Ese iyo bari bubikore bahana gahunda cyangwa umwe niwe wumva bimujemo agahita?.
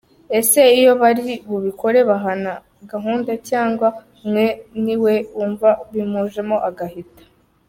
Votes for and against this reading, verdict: 2, 0, accepted